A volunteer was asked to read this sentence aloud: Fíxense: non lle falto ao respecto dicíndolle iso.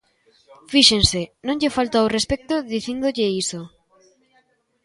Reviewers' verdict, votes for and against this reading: accepted, 2, 0